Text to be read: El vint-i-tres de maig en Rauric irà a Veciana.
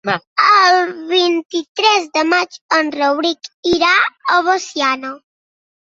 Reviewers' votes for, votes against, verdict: 0, 2, rejected